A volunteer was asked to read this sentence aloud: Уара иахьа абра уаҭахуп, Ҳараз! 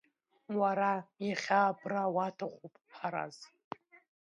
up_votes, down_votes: 2, 0